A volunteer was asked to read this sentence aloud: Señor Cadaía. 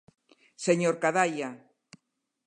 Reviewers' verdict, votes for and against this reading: rejected, 0, 2